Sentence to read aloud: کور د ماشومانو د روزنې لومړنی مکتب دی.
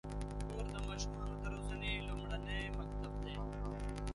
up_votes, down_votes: 0, 2